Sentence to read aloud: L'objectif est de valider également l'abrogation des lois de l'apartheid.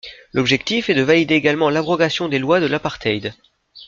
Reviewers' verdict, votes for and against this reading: accepted, 2, 0